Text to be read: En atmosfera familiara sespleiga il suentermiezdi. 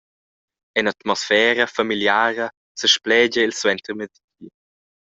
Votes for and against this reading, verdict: 0, 2, rejected